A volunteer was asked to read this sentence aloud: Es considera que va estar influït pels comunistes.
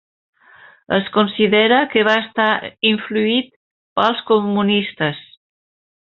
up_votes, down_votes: 3, 1